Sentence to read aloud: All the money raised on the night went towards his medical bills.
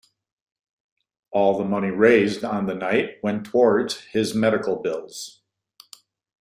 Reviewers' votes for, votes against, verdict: 2, 0, accepted